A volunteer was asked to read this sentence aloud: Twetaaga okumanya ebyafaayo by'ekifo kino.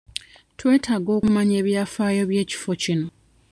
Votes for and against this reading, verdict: 2, 0, accepted